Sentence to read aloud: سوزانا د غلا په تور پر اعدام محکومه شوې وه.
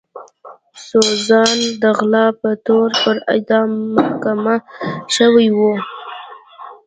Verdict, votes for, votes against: accepted, 2, 0